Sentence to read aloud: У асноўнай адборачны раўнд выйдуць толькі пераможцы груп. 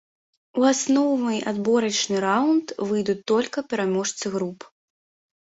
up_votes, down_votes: 1, 2